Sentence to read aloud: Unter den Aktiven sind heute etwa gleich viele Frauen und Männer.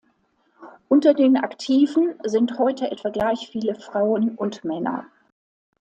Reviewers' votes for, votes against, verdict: 2, 0, accepted